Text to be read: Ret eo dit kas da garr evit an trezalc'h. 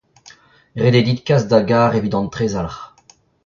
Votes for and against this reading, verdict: 2, 1, accepted